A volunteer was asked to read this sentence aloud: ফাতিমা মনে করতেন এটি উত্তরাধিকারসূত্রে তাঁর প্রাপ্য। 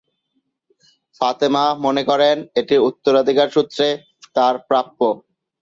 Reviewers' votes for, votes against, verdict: 1, 2, rejected